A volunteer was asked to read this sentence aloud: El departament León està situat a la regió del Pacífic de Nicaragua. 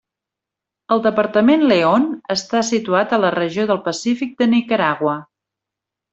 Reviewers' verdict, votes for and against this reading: accepted, 3, 0